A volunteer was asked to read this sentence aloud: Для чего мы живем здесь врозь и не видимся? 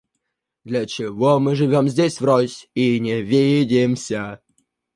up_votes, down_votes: 0, 2